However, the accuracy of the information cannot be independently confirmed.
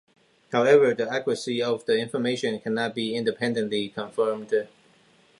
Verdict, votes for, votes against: rejected, 1, 2